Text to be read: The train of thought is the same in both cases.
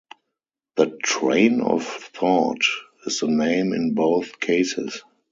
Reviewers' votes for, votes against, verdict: 2, 2, rejected